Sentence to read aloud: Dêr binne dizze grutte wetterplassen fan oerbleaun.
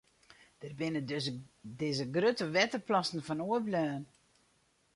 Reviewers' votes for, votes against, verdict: 0, 2, rejected